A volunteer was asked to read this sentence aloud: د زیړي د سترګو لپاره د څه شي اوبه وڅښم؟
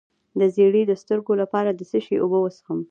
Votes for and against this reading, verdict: 2, 1, accepted